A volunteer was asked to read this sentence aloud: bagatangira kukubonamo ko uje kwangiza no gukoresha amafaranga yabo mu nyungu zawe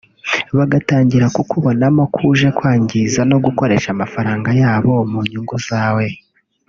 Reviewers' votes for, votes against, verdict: 2, 0, accepted